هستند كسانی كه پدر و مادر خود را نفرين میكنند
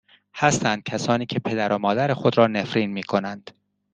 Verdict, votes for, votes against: accepted, 2, 0